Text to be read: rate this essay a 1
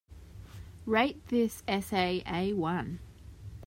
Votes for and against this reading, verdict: 0, 2, rejected